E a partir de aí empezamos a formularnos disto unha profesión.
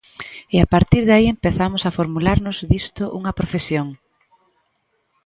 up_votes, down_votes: 2, 0